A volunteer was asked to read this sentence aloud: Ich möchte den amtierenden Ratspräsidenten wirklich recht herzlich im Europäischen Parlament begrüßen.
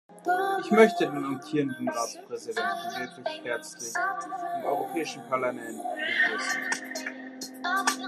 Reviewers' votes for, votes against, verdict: 1, 2, rejected